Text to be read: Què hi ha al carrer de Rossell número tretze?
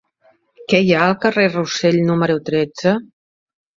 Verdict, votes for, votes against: rejected, 1, 2